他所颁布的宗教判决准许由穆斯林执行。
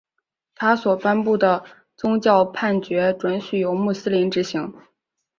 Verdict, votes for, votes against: accepted, 3, 0